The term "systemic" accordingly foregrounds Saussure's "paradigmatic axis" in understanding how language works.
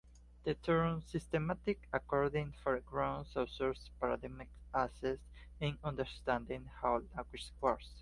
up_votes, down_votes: 2, 0